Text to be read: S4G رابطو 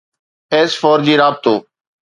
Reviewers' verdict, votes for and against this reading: rejected, 0, 2